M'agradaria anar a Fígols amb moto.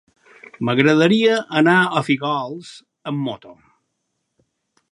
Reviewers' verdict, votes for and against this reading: rejected, 0, 2